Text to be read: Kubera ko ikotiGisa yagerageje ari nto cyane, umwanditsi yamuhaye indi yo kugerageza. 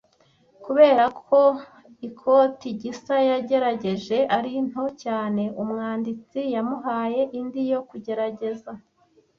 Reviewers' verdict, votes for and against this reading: accepted, 2, 1